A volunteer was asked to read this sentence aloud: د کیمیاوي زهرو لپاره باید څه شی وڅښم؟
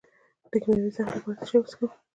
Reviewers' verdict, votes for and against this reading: rejected, 0, 2